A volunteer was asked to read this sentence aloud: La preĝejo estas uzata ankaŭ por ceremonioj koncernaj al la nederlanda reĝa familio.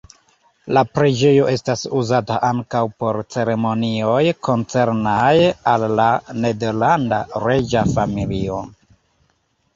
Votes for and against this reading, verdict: 2, 0, accepted